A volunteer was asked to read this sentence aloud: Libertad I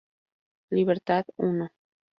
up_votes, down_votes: 2, 0